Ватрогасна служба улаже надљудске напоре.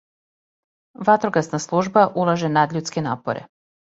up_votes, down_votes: 2, 0